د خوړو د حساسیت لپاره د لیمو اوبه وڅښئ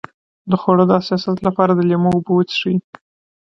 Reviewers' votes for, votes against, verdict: 2, 3, rejected